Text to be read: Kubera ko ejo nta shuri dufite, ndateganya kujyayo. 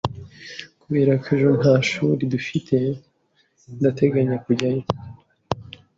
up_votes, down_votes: 2, 0